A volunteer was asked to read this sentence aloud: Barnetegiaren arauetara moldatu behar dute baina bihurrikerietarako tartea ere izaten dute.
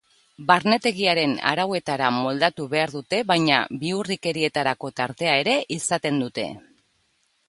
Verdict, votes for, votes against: accepted, 3, 0